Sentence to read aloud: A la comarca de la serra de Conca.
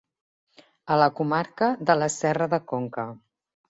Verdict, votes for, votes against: accepted, 2, 0